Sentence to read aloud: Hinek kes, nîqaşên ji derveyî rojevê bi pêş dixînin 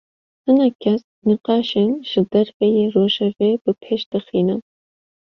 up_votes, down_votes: 2, 0